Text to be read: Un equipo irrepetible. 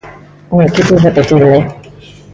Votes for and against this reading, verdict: 0, 2, rejected